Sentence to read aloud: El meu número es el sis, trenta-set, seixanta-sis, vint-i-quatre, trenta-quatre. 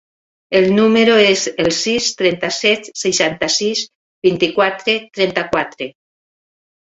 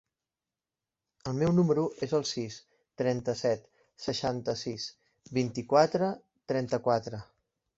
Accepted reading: second